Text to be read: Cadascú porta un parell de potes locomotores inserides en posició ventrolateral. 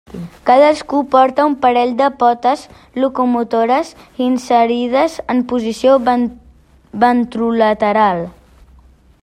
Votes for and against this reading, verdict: 0, 2, rejected